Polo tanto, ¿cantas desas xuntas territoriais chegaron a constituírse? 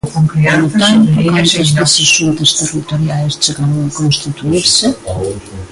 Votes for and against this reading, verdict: 0, 2, rejected